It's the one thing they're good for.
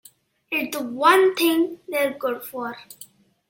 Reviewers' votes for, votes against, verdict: 0, 2, rejected